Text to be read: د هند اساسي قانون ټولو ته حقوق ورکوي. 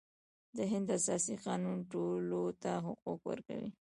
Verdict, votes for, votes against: rejected, 1, 2